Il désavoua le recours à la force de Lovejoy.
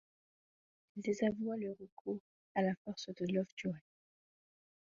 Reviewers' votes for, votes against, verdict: 2, 1, accepted